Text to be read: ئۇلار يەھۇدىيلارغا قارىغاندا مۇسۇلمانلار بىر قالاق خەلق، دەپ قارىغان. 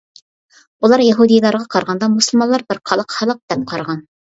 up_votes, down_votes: 2, 0